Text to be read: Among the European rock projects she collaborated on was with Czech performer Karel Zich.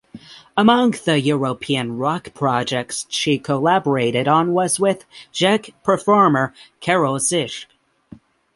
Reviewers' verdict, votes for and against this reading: accepted, 6, 0